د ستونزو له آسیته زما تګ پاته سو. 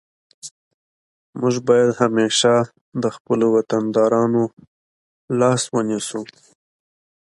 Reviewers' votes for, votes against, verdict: 1, 2, rejected